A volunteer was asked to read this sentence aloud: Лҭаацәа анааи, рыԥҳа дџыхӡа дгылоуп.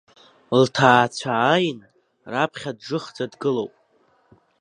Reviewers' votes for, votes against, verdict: 0, 3, rejected